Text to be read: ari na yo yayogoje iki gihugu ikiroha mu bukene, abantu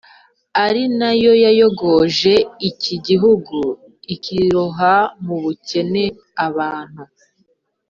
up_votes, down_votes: 2, 0